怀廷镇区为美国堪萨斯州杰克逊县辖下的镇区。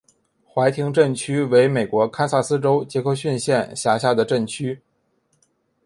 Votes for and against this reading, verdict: 3, 2, accepted